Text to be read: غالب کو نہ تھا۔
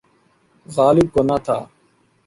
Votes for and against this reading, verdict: 1, 2, rejected